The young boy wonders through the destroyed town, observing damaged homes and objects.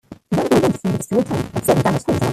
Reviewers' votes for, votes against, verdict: 0, 2, rejected